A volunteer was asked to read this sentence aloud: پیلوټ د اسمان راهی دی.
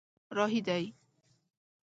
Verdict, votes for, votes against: rejected, 1, 2